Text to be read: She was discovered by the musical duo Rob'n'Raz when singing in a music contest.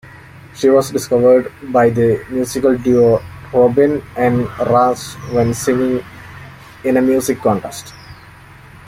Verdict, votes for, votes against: rejected, 0, 2